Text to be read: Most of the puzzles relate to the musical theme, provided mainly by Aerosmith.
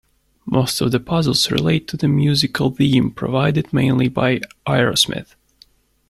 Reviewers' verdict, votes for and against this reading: rejected, 0, 2